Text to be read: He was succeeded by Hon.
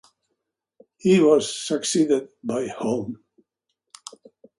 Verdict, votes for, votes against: rejected, 0, 2